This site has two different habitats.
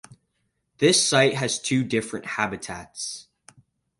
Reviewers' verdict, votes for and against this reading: accepted, 4, 0